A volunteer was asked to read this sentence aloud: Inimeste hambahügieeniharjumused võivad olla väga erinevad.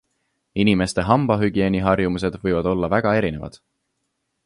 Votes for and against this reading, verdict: 2, 0, accepted